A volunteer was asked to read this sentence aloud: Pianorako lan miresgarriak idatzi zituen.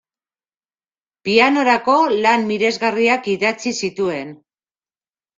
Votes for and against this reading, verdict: 2, 0, accepted